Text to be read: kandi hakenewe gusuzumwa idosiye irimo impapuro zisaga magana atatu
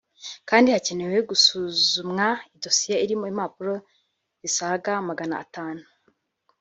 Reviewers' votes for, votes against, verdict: 0, 2, rejected